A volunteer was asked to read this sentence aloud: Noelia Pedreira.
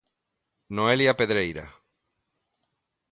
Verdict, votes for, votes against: accepted, 2, 0